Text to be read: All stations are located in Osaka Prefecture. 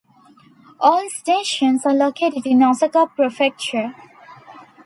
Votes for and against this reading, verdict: 2, 0, accepted